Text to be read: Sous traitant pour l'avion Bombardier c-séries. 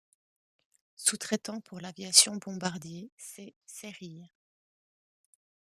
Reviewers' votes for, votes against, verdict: 1, 2, rejected